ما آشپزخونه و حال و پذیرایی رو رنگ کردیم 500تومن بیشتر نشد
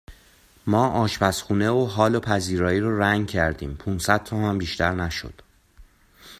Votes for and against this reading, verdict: 0, 2, rejected